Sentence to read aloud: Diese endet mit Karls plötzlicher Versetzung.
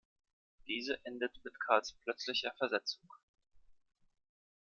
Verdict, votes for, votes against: accepted, 2, 0